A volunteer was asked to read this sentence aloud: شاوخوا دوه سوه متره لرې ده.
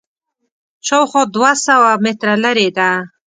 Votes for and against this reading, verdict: 2, 0, accepted